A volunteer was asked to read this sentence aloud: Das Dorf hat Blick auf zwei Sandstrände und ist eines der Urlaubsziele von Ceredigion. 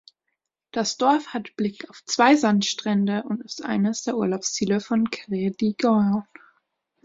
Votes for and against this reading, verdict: 1, 3, rejected